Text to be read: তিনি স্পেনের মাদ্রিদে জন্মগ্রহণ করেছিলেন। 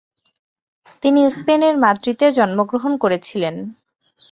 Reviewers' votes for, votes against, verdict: 2, 0, accepted